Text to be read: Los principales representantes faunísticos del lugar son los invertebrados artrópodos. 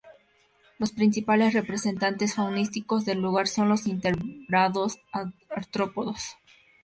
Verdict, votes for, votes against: rejected, 0, 2